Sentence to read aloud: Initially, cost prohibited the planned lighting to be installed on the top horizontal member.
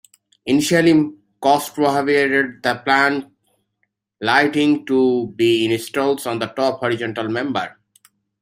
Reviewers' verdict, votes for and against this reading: accepted, 2, 1